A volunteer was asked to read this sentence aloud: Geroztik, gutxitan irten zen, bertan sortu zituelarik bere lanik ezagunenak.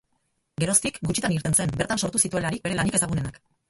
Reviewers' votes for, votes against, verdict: 0, 4, rejected